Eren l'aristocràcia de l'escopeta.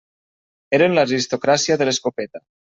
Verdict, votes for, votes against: rejected, 1, 2